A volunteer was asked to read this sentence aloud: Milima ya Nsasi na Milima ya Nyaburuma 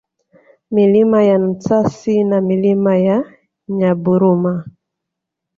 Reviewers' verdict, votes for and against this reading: accepted, 2, 0